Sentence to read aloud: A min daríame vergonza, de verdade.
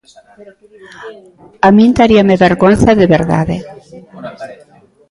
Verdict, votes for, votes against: accepted, 2, 0